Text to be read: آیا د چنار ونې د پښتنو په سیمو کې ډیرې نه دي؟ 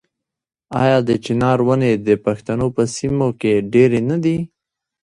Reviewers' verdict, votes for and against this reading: rejected, 0, 2